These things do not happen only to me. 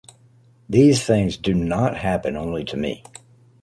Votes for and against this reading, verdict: 2, 0, accepted